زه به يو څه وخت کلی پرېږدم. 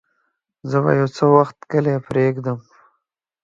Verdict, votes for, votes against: accepted, 2, 0